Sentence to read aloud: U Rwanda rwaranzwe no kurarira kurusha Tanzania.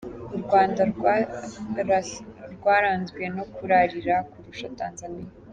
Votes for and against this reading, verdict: 0, 2, rejected